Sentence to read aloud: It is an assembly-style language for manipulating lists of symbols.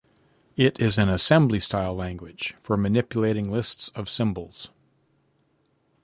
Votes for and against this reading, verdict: 2, 0, accepted